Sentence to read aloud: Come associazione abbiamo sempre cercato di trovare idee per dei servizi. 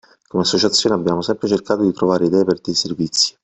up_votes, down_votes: 2, 0